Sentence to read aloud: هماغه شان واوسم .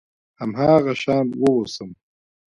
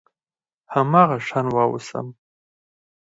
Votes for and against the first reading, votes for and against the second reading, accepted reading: 2, 0, 0, 4, first